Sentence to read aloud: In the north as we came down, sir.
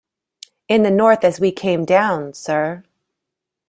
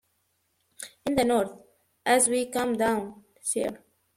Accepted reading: first